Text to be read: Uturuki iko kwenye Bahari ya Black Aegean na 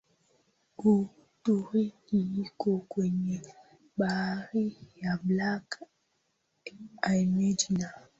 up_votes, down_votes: 2, 5